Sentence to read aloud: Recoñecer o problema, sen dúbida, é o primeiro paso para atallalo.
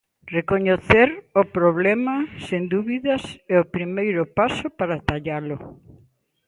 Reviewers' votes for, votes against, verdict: 0, 2, rejected